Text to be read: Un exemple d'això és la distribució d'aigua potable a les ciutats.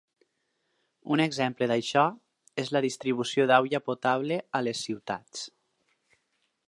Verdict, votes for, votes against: rejected, 2, 4